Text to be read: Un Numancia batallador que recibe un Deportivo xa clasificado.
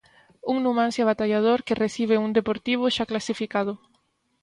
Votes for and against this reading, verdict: 3, 0, accepted